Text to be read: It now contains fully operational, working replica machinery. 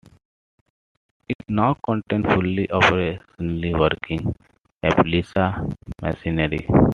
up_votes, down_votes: 2, 0